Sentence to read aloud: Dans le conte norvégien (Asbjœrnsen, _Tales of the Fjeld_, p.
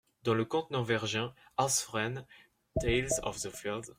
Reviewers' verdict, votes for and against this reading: rejected, 0, 2